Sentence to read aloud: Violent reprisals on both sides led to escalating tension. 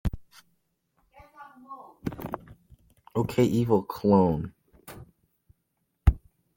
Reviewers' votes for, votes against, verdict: 0, 2, rejected